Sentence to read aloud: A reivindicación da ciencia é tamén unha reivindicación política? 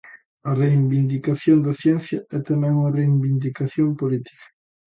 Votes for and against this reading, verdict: 0, 2, rejected